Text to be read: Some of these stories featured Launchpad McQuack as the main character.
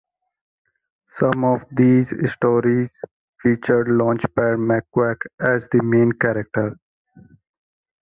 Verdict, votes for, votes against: accepted, 2, 0